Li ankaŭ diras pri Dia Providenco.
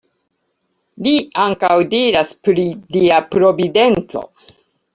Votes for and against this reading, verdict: 1, 2, rejected